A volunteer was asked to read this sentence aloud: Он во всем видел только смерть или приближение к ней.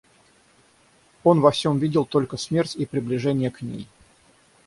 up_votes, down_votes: 0, 6